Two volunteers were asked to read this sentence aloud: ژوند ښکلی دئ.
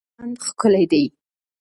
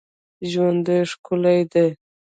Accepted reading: first